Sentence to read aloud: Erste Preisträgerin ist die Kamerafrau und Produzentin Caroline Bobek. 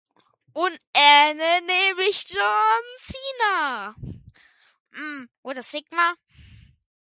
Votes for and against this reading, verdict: 0, 2, rejected